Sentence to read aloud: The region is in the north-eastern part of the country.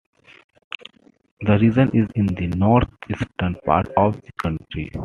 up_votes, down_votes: 2, 1